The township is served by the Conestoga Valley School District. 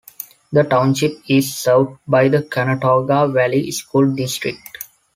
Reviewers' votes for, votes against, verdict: 1, 2, rejected